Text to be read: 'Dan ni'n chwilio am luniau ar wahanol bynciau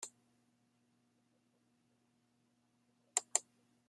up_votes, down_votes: 0, 2